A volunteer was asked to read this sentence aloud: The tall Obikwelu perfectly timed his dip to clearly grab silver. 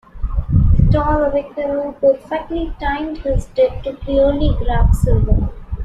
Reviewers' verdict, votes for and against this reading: rejected, 0, 2